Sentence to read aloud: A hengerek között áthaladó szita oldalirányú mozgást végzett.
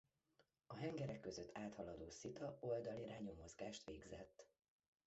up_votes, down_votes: 1, 2